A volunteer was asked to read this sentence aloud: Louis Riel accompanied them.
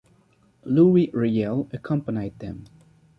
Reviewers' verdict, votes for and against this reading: rejected, 1, 2